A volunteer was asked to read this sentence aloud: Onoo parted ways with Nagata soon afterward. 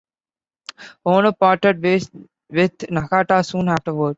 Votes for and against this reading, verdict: 1, 2, rejected